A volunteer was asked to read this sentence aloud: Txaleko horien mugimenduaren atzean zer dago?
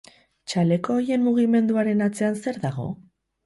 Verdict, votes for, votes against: rejected, 2, 2